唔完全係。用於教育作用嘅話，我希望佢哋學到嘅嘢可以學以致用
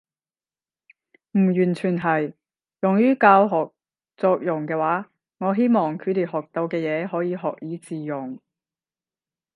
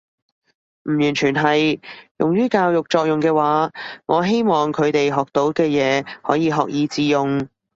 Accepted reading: second